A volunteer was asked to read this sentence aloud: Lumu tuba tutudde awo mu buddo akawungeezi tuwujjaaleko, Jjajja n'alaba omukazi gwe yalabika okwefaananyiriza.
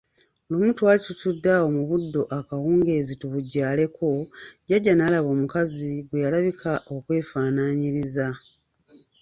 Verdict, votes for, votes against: rejected, 1, 2